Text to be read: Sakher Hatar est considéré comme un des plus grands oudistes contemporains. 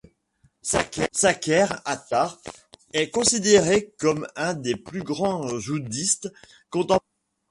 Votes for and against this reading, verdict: 0, 2, rejected